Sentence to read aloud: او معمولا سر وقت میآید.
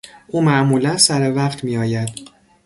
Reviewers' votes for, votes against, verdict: 2, 0, accepted